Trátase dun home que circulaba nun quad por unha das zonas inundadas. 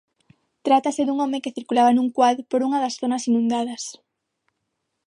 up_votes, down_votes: 6, 0